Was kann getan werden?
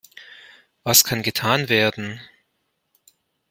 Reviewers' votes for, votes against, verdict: 2, 0, accepted